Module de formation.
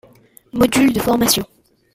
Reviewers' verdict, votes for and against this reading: rejected, 2, 3